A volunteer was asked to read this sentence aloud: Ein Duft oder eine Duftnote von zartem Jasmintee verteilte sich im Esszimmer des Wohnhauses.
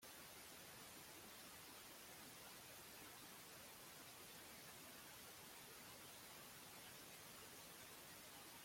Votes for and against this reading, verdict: 0, 2, rejected